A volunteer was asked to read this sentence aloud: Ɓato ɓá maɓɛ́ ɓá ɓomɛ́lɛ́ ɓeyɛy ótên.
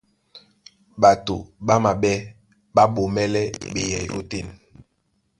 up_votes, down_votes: 2, 0